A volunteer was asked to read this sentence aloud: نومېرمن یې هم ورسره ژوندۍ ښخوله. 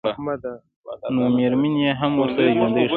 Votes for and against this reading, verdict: 2, 0, accepted